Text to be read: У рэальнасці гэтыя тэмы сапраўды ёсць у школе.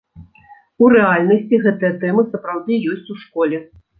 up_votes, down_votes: 2, 0